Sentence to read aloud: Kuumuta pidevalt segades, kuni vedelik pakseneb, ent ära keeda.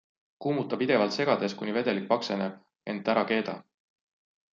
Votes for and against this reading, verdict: 2, 0, accepted